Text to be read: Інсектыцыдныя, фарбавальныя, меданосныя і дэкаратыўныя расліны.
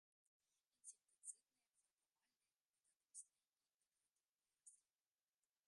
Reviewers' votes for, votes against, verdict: 0, 2, rejected